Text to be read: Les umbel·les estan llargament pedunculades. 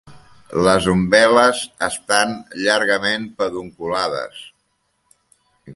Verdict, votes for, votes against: accepted, 3, 0